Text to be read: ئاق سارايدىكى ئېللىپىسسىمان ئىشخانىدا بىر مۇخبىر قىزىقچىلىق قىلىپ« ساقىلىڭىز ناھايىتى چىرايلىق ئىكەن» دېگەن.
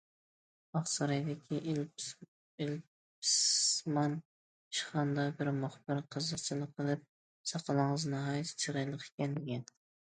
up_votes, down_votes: 0, 2